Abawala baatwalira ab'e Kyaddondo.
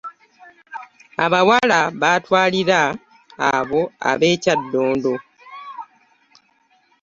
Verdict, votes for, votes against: rejected, 0, 2